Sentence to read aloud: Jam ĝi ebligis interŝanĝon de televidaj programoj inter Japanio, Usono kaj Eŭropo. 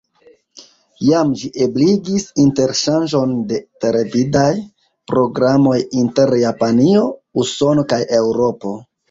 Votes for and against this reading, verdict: 1, 2, rejected